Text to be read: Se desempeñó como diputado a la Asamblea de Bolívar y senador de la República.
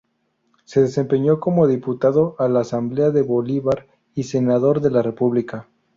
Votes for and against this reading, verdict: 2, 0, accepted